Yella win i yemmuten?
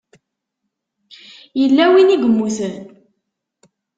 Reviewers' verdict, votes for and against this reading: rejected, 0, 2